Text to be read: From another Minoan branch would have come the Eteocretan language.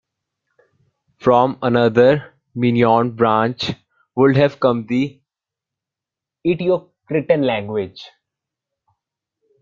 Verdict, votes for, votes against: rejected, 0, 2